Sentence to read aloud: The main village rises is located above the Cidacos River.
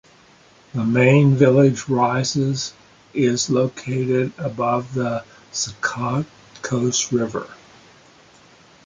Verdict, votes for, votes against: rejected, 0, 2